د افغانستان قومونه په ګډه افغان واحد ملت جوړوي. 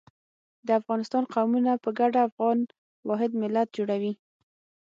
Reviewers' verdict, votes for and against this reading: accepted, 6, 0